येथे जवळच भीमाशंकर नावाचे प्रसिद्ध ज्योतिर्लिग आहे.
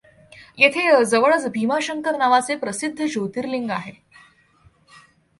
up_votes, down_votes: 2, 1